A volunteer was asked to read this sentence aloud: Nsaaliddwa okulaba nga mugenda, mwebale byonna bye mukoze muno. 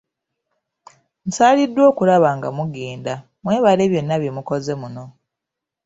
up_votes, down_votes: 2, 0